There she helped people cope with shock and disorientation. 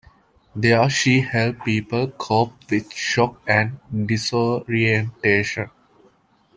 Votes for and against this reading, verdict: 2, 0, accepted